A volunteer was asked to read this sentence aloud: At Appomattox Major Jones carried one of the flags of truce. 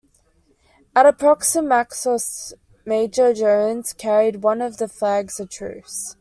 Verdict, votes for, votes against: rejected, 0, 2